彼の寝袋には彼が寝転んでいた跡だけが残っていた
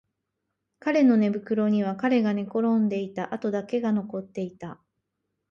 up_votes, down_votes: 2, 0